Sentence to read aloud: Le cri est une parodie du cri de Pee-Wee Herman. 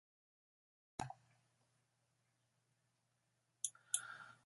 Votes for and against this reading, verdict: 0, 2, rejected